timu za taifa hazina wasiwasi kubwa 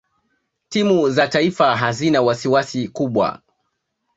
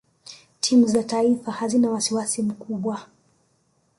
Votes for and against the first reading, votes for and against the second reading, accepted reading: 2, 1, 1, 2, first